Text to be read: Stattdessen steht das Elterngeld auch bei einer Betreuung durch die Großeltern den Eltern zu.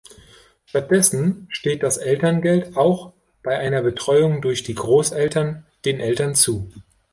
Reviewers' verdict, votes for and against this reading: accepted, 2, 0